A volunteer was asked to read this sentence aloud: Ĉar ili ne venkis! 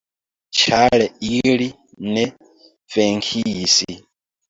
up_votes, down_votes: 2, 1